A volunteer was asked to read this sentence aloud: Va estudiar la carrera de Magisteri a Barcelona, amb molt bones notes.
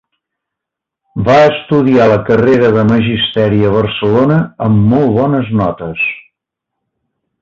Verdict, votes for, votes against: accepted, 2, 1